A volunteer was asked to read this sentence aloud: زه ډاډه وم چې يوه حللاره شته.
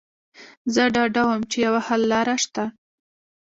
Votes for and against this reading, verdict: 2, 0, accepted